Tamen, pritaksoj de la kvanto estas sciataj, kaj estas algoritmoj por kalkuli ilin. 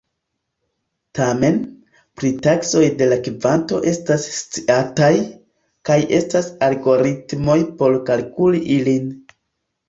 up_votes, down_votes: 0, 2